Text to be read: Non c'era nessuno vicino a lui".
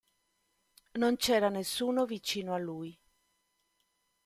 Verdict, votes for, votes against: accepted, 2, 0